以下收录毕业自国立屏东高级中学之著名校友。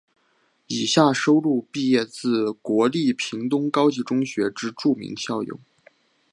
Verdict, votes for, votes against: accepted, 2, 0